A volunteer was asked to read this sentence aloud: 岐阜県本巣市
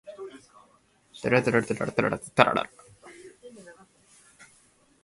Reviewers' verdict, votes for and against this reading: rejected, 0, 2